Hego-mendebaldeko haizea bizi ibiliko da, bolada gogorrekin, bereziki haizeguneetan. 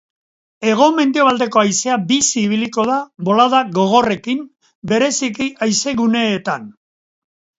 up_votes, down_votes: 4, 0